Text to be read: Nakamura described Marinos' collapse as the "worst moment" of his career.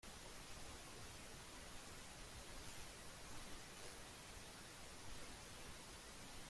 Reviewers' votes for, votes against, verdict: 0, 2, rejected